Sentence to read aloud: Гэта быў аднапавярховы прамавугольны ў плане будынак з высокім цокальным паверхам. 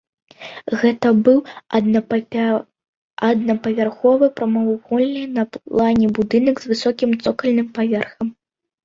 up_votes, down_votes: 1, 2